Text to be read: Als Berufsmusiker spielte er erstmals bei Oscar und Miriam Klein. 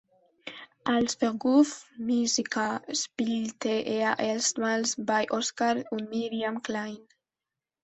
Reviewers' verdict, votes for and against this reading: rejected, 0, 2